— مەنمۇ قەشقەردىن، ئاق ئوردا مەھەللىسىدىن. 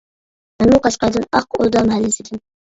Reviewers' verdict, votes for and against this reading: rejected, 1, 2